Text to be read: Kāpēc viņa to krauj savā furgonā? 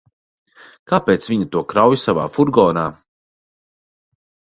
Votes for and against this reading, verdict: 2, 0, accepted